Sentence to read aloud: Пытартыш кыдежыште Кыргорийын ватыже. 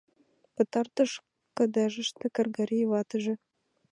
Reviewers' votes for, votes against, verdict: 1, 2, rejected